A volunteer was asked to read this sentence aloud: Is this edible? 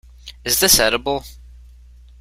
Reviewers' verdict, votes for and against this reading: accepted, 3, 0